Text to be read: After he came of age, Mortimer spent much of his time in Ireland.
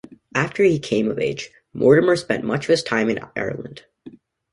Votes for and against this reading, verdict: 2, 0, accepted